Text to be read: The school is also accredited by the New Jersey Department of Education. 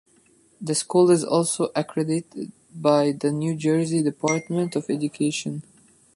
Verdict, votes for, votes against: accepted, 2, 0